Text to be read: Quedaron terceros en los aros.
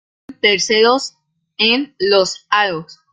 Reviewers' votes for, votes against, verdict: 0, 2, rejected